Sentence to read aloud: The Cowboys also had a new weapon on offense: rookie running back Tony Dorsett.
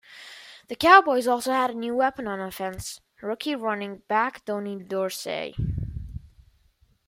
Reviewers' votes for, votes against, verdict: 1, 2, rejected